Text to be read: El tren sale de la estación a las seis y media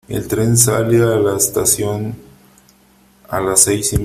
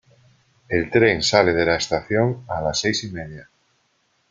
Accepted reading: second